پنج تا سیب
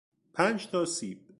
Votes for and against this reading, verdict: 2, 0, accepted